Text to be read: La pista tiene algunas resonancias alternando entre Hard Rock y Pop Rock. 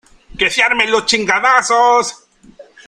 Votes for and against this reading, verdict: 0, 2, rejected